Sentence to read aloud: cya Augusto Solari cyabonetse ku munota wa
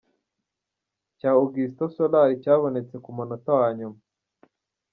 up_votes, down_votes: 1, 2